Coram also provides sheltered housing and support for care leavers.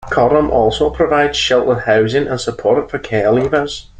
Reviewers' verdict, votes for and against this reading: accepted, 2, 0